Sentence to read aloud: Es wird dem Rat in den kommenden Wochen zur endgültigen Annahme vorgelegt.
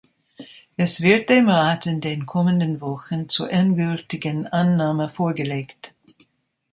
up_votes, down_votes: 2, 0